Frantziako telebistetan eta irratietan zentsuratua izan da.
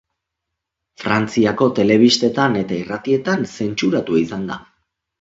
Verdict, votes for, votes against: accepted, 2, 0